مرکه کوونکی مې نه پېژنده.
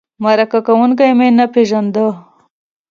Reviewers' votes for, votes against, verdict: 2, 0, accepted